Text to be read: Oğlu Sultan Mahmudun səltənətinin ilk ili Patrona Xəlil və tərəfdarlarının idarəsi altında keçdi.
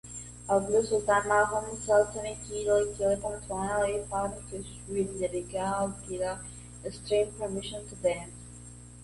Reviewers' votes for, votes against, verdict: 0, 2, rejected